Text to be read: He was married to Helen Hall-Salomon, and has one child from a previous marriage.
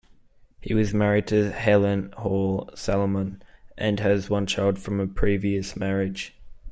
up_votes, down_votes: 2, 0